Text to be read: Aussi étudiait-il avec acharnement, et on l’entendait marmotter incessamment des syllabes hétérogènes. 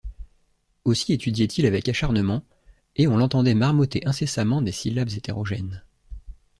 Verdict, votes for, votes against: accepted, 2, 0